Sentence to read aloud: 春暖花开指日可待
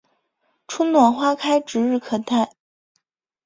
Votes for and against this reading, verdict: 2, 0, accepted